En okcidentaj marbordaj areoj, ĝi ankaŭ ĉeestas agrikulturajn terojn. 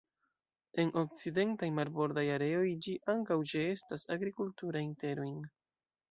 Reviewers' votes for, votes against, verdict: 2, 0, accepted